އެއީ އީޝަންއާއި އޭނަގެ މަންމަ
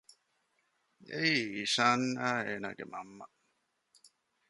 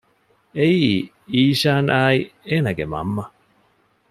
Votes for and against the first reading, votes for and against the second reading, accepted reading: 1, 2, 2, 0, second